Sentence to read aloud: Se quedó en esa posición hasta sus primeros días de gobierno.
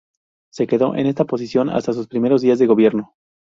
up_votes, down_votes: 2, 2